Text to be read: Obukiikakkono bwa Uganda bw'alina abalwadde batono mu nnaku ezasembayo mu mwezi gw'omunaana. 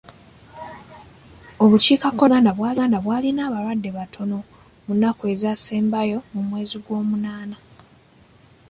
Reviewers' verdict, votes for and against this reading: accepted, 2, 0